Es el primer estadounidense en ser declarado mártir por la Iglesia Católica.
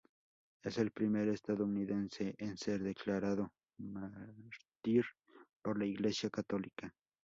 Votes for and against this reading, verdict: 0, 2, rejected